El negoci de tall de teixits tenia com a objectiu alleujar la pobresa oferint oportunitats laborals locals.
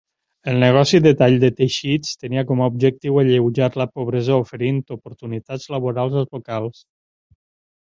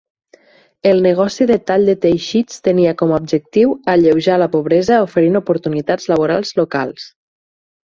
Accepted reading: second